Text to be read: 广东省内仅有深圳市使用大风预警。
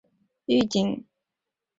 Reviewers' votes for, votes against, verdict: 1, 2, rejected